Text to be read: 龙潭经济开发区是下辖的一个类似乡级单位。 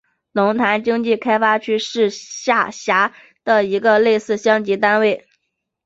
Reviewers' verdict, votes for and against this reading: accepted, 6, 1